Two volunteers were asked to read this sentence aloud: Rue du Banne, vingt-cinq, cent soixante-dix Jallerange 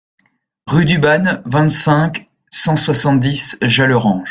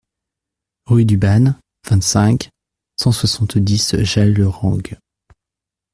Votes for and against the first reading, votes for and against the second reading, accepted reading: 2, 0, 0, 2, first